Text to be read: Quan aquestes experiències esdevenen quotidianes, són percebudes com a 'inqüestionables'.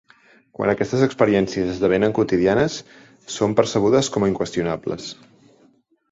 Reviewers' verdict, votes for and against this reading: accepted, 2, 0